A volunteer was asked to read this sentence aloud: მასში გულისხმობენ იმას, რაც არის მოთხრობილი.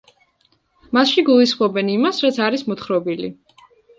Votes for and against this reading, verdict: 2, 0, accepted